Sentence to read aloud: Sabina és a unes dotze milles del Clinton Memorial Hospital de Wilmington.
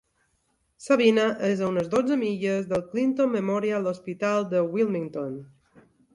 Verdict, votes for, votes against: accepted, 2, 0